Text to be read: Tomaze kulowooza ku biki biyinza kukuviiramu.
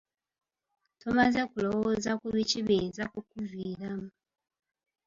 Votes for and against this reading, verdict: 2, 0, accepted